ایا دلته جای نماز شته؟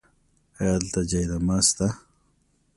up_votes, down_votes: 2, 0